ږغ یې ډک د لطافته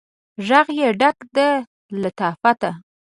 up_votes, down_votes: 2, 0